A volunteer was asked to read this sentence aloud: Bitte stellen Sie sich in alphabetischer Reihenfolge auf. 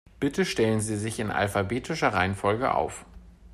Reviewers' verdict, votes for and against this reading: accepted, 3, 0